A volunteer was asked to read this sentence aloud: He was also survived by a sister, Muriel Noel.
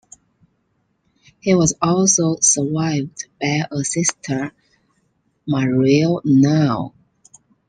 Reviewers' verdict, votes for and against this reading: rejected, 0, 2